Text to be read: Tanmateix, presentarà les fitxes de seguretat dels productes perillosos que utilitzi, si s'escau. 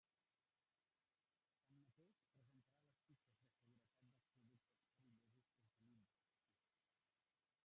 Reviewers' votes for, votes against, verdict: 0, 2, rejected